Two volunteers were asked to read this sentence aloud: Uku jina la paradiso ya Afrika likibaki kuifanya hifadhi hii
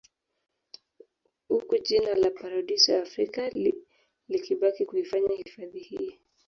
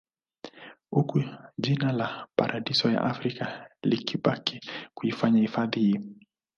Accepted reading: second